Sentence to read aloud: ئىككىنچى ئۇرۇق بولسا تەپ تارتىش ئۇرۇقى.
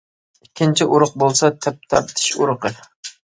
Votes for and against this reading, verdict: 2, 0, accepted